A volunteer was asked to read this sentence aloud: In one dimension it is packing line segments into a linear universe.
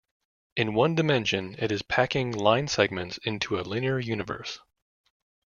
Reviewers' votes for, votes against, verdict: 2, 0, accepted